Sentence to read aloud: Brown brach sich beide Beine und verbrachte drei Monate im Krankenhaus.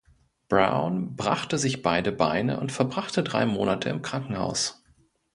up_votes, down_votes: 1, 2